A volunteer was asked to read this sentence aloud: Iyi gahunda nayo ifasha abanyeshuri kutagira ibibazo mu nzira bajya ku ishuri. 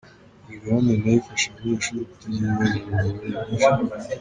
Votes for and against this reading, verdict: 0, 3, rejected